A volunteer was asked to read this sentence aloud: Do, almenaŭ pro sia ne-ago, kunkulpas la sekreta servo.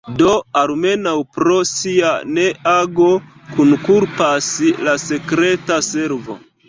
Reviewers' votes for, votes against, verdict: 1, 3, rejected